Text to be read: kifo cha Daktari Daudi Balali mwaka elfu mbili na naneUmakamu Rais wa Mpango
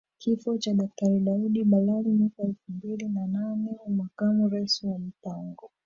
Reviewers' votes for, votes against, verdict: 0, 2, rejected